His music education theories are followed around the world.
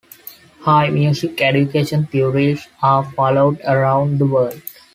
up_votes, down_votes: 1, 2